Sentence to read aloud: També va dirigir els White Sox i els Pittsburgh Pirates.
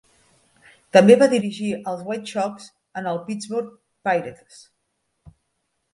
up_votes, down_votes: 0, 2